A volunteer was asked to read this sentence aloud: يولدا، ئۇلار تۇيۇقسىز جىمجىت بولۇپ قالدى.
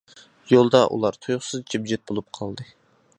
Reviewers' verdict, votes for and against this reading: accepted, 2, 0